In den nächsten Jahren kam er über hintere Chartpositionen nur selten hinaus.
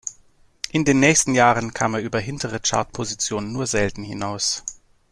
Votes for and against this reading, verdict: 2, 0, accepted